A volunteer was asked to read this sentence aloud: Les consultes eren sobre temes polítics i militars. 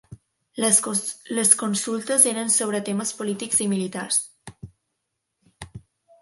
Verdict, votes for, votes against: rejected, 0, 2